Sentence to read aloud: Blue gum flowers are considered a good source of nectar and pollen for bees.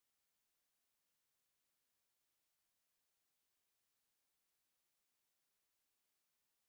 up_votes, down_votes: 0, 4